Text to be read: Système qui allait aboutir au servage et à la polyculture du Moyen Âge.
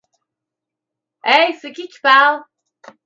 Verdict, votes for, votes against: rejected, 0, 2